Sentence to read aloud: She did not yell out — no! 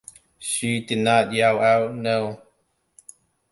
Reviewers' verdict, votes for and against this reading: accepted, 2, 0